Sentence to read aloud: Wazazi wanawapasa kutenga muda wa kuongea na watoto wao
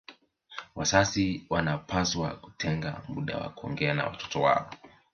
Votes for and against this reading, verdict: 2, 0, accepted